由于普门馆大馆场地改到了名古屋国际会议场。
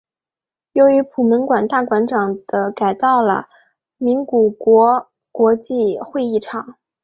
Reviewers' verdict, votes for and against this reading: rejected, 2, 4